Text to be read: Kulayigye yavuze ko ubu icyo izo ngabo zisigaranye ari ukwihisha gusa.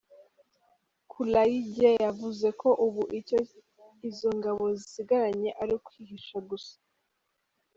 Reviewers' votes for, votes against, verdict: 2, 0, accepted